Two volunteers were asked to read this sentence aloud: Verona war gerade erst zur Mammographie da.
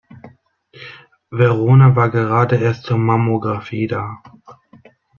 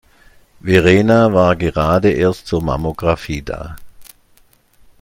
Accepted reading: first